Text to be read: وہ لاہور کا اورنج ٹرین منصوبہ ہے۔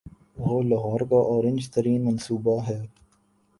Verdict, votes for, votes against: rejected, 1, 2